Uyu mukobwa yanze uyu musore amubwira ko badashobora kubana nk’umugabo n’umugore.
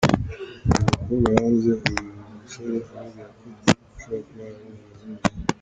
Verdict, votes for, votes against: rejected, 0, 2